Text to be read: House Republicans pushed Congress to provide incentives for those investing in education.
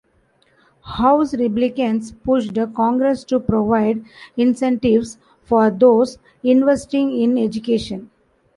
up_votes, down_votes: 1, 2